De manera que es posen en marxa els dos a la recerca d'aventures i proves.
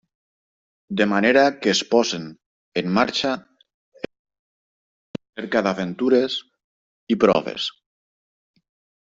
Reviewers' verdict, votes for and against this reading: rejected, 0, 2